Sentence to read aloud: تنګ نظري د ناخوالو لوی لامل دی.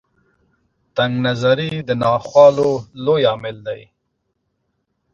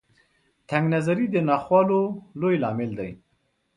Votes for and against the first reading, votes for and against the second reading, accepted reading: 0, 2, 2, 0, second